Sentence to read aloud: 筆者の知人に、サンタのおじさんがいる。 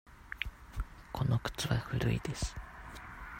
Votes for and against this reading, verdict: 0, 2, rejected